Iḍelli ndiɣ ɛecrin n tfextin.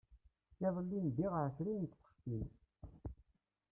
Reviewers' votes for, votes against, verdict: 0, 2, rejected